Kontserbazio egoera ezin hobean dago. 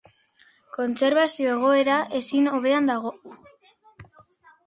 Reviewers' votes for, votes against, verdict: 3, 1, accepted